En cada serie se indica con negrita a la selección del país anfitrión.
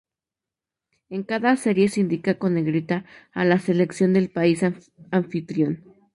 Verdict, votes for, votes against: rejected, 0, 2